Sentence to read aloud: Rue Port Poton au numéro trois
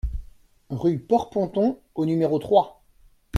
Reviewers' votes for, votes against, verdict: 1, 2, rejected